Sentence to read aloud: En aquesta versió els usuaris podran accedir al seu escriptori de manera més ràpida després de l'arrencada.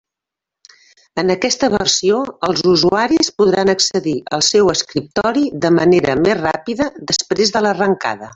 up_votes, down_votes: 1, 2